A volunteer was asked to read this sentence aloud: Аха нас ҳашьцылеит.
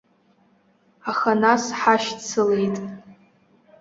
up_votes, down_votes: 2, 0